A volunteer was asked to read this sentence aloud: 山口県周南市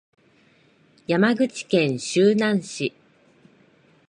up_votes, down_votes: 2, 0